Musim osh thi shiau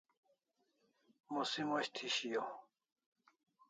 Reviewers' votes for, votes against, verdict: 2, 0, accepted